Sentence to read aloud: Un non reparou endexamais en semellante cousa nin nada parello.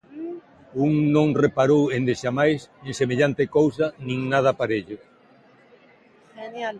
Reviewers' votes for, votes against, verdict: 1, 2, rejected